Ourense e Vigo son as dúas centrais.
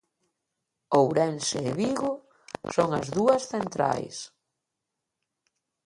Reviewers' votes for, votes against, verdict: 0, 2, rejected